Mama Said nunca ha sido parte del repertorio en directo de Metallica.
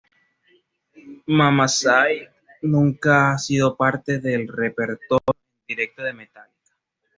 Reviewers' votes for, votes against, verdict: 2, 0, accepted